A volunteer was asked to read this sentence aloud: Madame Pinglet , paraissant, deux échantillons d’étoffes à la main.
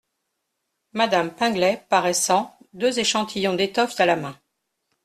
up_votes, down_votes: 2, 0